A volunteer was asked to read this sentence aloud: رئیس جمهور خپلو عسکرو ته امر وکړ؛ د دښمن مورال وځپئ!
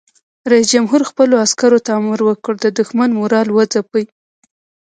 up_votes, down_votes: 0, 2